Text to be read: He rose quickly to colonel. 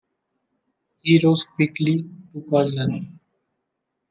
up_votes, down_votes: 1, 2